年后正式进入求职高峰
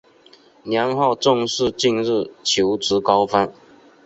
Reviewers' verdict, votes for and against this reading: accepted, 2, 1